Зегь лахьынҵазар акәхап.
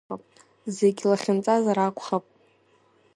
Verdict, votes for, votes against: accepted, 2, 0